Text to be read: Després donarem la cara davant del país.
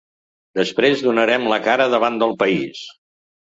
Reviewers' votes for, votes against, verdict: 5, 0, accepted